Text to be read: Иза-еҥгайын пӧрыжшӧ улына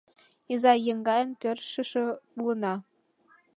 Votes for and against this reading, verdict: 2, 0, accepted